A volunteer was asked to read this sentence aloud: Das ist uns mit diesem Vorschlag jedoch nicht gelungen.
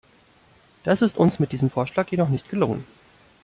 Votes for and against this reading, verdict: 2, 0, accepted